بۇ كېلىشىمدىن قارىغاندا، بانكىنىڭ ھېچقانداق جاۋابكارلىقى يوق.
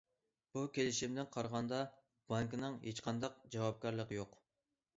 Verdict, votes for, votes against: accepted, 2, 0